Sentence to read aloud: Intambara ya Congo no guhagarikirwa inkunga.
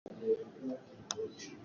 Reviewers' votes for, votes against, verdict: 0, 3, rejected